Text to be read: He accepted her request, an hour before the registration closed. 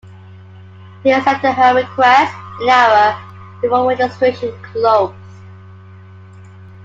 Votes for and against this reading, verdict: 0, 2, rejected